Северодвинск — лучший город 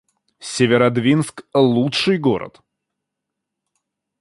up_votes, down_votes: 2, 0